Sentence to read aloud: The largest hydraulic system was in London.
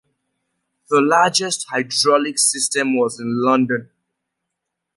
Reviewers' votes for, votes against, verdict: 2, 0, accepted